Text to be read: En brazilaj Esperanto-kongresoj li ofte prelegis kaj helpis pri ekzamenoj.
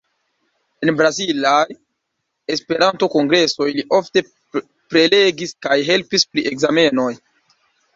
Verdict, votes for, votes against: rejected, 0, 2